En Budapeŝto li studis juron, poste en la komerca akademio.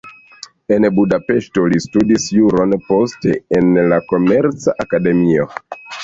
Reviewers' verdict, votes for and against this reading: rejected, 0, 2